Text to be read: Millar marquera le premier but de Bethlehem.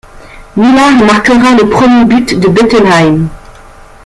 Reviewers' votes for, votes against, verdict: 0, 2, rejected